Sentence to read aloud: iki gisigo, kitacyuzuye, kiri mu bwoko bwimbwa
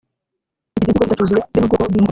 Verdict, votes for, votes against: rejected, 1, 2